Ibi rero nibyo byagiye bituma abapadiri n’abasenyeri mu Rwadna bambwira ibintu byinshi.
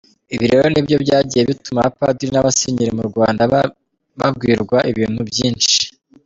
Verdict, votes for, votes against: rejected, 0, 2